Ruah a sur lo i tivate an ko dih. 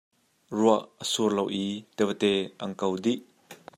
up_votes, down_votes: 1, 2